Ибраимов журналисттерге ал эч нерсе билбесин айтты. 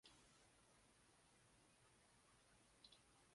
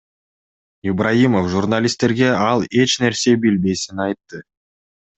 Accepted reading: second